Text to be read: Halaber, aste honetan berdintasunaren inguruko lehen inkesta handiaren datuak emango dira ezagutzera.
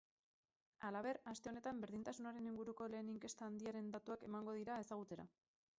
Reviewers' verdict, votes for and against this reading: rejected, 0, 4